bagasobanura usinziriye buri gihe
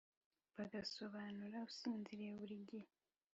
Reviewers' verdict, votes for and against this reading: accepted, 2, 0